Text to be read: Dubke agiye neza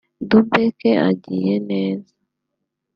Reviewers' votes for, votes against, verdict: 2, 1, accepted